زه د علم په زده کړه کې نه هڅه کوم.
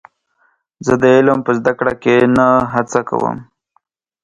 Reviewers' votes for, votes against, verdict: 2, 0, accepted